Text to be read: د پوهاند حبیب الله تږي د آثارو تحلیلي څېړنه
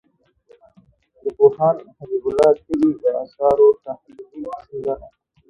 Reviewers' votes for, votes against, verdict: 1, 2, rejected